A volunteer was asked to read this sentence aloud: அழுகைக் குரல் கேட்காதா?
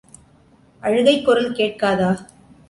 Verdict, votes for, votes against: accepted, 2, 0